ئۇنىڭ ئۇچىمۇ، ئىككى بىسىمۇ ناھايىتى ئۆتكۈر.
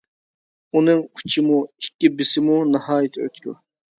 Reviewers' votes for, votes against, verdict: 2, 0, accepted